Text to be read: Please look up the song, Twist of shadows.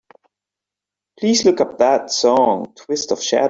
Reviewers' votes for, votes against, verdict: 0, 3, rejected